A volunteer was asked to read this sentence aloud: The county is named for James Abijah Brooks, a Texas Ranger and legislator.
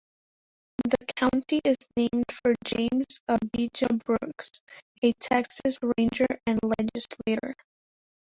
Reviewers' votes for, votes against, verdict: 0, 2, rejected